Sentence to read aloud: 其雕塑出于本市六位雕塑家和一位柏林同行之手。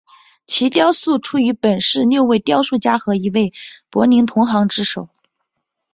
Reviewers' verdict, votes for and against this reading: accepted, 3, 0